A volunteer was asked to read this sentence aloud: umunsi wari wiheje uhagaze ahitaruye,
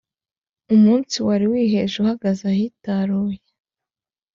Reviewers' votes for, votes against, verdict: 3, 0, accepted